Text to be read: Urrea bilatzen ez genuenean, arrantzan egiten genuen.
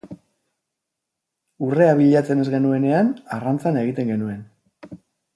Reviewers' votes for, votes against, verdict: 4, 0, accepted